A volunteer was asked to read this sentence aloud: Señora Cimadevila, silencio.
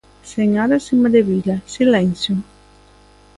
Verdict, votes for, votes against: accepted, 2, 0